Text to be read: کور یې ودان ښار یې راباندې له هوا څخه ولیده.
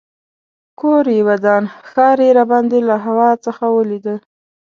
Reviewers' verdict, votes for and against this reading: accepted, 2, 0